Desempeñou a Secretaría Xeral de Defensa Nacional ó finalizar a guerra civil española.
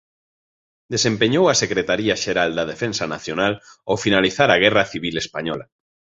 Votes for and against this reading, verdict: 0, 2, rejected